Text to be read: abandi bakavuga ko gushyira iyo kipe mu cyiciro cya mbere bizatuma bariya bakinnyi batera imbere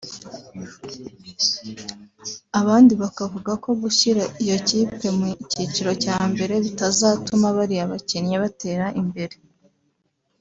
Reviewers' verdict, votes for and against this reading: rejected, 1, 2